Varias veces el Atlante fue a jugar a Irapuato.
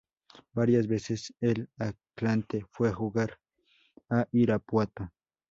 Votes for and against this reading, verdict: 4, 0, accepted